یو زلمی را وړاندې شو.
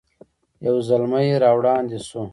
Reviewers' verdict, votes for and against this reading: accepted, 2, 0